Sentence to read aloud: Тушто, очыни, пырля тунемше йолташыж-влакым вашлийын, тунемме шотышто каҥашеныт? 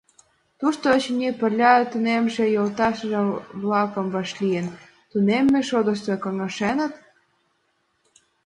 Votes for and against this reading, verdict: 2, 0, accepted